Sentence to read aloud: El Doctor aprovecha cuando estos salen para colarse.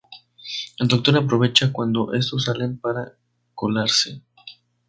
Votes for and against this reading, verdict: 0, 2, rejected